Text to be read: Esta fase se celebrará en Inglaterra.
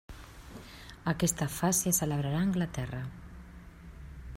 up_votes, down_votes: 0, 2